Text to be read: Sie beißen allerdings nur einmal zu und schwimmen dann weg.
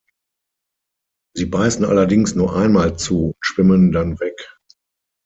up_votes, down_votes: 3, 6